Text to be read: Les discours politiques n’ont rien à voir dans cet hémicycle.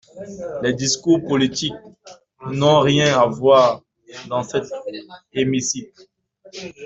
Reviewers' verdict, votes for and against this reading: rejected, 0, 2